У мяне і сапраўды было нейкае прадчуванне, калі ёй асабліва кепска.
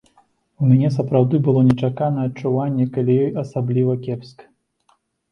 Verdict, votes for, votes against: rejected, 1, 2